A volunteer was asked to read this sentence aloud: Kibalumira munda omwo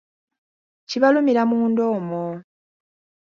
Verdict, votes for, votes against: accepted, 2, 0